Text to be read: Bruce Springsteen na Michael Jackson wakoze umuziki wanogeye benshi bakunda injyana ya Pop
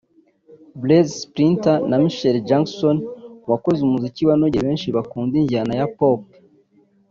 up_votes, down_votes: 0, 2